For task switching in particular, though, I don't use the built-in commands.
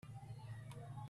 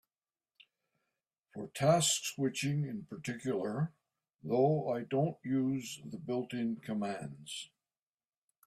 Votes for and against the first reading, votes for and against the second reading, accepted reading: 0, 3, 2, 0, second